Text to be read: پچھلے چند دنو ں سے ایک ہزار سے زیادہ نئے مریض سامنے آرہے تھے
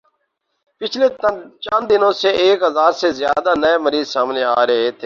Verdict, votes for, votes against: rejected, 2, 2